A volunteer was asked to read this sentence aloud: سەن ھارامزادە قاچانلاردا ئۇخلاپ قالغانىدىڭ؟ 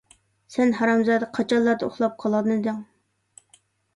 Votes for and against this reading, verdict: 1, 2, rejected